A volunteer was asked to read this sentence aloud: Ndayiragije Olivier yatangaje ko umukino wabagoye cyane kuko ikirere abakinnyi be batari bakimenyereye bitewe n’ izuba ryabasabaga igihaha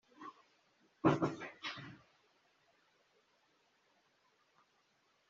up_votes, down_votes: 1, 2